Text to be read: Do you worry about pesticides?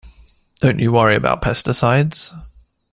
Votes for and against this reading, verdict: 1, 2, rejected